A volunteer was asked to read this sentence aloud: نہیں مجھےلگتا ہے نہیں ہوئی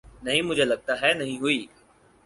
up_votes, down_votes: 6, 0